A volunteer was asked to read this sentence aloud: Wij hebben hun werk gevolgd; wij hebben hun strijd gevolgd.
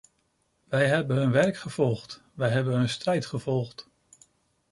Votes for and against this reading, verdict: 2, 0, accepted